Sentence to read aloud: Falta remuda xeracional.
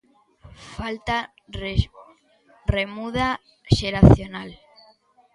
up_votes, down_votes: 1, 2